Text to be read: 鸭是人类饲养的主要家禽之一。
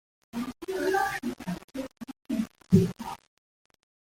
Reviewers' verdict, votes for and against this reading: rejected, 0, 2